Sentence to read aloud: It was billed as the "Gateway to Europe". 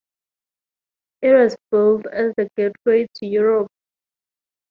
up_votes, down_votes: 2, 2